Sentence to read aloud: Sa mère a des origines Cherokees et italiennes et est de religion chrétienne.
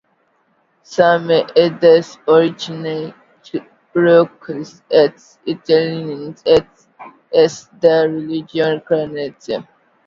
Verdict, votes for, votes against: rejected, 1, 2